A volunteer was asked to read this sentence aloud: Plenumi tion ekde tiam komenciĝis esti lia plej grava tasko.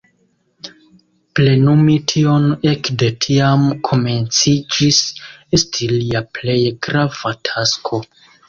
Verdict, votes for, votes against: rejected, 0, 2